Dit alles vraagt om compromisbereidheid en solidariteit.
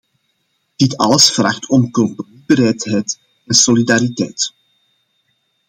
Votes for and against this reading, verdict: 0, 2, rejected